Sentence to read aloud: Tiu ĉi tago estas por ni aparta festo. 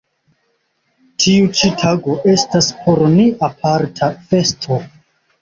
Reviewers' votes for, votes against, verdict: 0, 2, rejected